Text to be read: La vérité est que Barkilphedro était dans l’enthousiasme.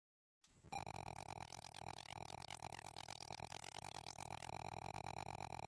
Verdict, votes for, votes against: rejected, 0, 2